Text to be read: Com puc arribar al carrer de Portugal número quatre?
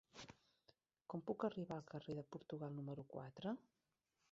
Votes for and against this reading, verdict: 1, 2, rejected